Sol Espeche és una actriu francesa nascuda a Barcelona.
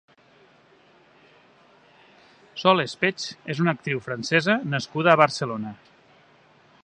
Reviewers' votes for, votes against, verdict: 2, 1, accepted